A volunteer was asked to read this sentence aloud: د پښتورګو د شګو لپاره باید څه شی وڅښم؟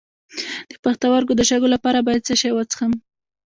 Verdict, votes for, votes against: rejected, 1, 2